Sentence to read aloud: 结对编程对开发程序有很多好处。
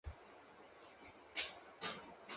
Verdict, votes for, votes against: rejected, 1, 2